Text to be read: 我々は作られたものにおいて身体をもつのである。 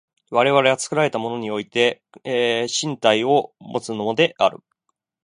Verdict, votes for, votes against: rejected, 1, 2